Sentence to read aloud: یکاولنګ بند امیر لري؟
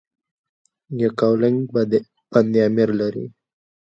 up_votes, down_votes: 0, 2